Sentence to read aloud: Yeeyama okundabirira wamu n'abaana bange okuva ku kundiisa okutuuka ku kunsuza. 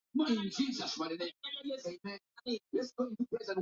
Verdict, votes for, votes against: rejected, 0, 2